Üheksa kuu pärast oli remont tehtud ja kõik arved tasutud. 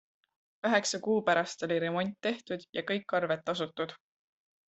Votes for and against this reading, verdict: 2, 0, accepted